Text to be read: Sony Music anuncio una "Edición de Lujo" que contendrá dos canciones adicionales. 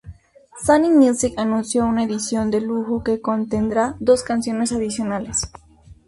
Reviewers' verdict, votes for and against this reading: accepted, 2, 0